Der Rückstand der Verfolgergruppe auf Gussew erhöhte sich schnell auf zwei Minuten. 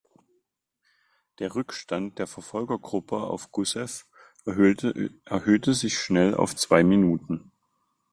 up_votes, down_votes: 0, 2